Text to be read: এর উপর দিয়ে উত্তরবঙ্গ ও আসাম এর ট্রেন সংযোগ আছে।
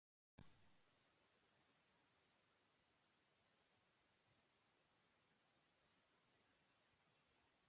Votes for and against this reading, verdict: 1, 2, rejected